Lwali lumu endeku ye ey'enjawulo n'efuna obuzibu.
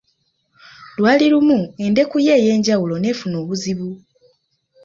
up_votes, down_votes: 2, 0